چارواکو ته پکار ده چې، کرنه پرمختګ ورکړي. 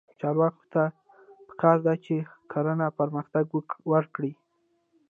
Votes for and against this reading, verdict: 1, 2, rejected